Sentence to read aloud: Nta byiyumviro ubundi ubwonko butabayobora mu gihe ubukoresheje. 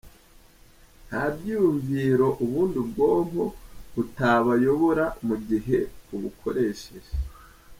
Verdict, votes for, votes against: accepted, 2, 1